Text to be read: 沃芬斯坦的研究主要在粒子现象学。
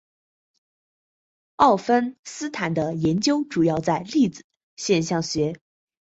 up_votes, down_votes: 2, 0